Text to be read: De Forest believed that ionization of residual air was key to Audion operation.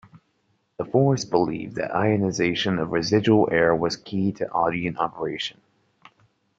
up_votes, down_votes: 1, 2